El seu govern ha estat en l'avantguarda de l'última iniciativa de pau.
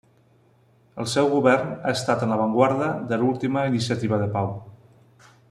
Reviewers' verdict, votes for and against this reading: accepted, 2, 0